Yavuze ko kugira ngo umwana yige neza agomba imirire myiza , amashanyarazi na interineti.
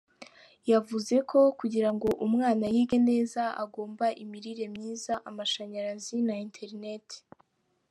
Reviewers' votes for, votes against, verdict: 2, 0, accepted